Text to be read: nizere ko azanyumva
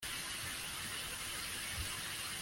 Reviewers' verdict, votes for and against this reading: rejected, 0, 2